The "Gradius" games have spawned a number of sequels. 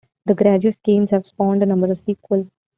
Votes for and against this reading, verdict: 2, 1, accepted